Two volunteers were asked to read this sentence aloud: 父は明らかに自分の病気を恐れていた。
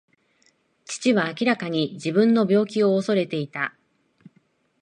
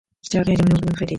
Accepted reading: first